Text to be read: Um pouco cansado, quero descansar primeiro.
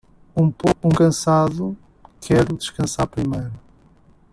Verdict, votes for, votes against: rejected, 0, 2